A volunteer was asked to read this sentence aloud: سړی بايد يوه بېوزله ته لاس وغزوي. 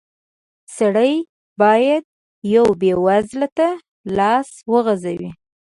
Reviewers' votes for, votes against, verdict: 2, 0, accepted